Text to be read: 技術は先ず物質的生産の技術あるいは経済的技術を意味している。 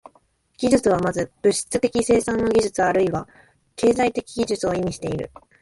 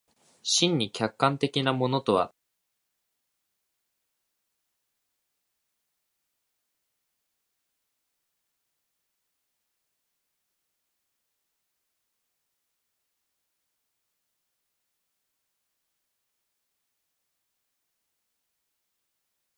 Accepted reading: first